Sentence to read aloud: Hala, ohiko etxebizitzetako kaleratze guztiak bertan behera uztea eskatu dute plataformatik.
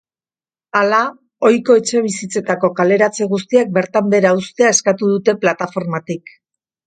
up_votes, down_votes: 3, 0